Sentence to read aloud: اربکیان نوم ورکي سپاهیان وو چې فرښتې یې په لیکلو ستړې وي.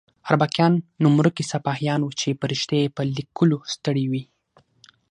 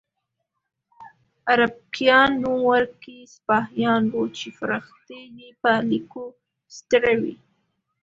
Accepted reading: first